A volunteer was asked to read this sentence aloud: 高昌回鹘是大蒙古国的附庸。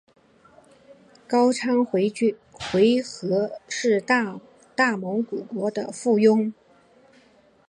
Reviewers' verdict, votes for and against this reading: rejected, 0, 3